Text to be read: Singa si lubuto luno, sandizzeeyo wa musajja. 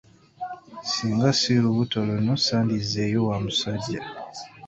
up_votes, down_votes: 2, 0